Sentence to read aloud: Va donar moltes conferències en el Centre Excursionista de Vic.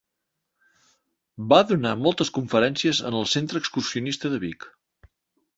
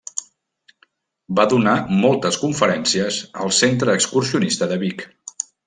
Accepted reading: first